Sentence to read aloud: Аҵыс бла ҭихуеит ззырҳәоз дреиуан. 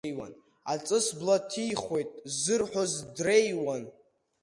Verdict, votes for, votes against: accepted, 2, 0